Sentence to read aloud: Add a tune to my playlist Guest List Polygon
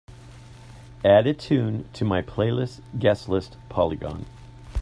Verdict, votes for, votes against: accepted, 3, 0